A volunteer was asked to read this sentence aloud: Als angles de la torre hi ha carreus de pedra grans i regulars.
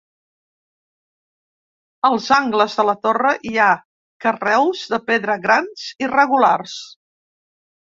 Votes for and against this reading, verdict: 3, 0, accepted